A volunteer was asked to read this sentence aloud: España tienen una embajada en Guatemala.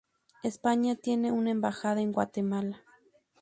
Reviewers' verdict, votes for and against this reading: accepted, 2, 0